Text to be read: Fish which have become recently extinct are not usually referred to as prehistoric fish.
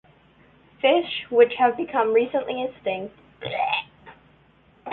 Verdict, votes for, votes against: rejected, 0, 2